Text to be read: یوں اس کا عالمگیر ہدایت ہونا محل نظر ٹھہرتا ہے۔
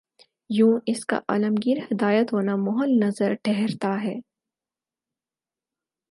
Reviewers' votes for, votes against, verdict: 4, 0, accepted